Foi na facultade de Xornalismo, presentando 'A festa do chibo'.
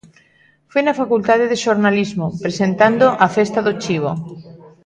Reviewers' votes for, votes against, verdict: 0, 2, rejected